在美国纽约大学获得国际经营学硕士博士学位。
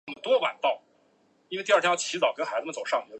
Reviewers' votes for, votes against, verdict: 0, 2, rejected